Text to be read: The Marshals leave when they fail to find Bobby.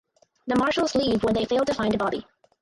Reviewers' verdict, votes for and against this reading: accepted, 4, 0